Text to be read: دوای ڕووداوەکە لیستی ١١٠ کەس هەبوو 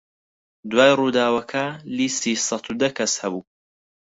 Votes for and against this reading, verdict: 0, 2, rejected